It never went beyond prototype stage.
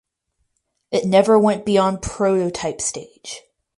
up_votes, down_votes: 2, 2